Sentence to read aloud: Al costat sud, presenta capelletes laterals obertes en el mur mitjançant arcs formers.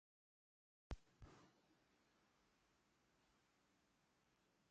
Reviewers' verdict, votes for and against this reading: rejected, 1, 2